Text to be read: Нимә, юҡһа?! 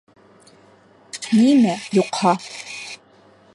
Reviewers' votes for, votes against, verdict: 3, 1, accepted